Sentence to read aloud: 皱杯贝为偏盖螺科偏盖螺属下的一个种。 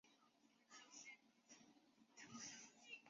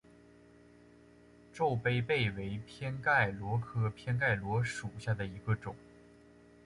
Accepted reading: second